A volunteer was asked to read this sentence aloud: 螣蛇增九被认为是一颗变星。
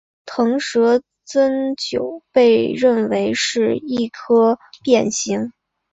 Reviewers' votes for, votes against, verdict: 3, 2, accepted